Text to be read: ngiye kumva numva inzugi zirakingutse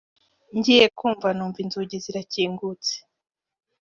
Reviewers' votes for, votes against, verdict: 2, 1, accepted